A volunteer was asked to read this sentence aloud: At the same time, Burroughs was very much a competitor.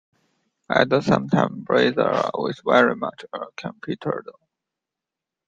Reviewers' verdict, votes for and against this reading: accepted, 2, 0